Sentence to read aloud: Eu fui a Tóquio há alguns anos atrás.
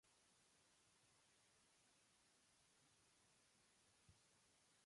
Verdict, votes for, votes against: rejected, 0, 2